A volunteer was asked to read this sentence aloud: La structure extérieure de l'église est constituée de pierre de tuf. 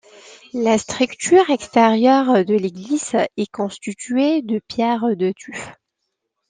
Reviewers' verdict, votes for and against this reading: accepted, 2, 1